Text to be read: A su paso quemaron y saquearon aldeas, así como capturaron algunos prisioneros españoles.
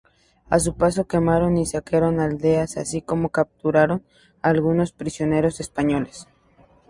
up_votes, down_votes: 4, 0